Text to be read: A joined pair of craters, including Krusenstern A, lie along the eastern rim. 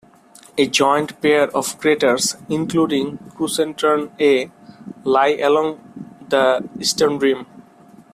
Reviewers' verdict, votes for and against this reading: accepted, 2, 0